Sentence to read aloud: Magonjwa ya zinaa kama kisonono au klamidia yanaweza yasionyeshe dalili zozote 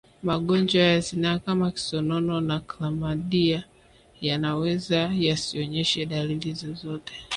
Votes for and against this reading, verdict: 0, 5, rejected